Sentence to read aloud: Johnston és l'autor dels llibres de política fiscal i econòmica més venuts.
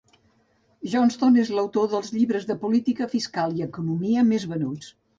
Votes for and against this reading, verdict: 0, 2, rejected